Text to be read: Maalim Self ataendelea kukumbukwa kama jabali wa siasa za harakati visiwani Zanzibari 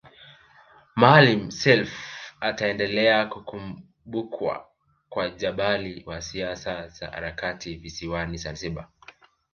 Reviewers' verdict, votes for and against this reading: rejected, 1, 3